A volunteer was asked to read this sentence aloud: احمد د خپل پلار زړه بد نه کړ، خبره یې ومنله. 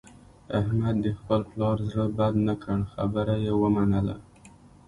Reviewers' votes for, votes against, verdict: 2, 0, accepted